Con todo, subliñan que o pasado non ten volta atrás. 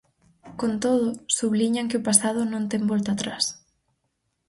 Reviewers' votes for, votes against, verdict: 4, 0, accepted